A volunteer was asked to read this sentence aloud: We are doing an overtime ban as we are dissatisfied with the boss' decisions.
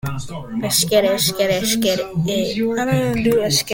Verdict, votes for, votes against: rejected, 0, 2